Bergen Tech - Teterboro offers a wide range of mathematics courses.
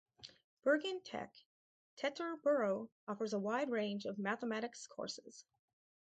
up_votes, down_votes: 4, 0